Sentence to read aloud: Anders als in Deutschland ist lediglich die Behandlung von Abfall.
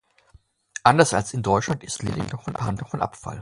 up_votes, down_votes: 0, 2